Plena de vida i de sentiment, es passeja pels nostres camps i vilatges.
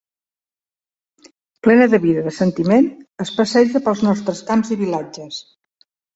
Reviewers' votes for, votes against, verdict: 4, 1, accepted